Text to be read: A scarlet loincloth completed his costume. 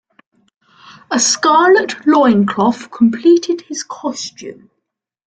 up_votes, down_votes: 2, 0